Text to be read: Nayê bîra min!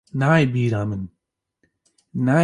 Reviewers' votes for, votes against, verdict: 1, 2, rejected